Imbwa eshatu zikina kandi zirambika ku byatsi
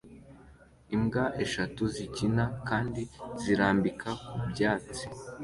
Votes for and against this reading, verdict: 2, 0, accepted